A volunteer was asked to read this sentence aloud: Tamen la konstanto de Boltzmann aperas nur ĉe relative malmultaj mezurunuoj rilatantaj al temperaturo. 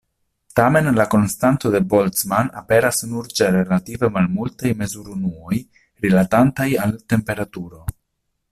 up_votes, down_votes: 2, 0